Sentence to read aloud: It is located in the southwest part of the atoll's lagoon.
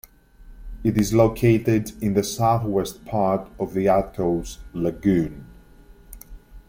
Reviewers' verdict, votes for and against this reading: accepted, 2, 1